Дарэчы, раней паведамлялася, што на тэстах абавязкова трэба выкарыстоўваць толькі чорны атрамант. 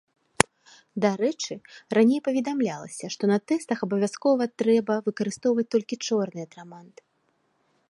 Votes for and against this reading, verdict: 2, 0, accepted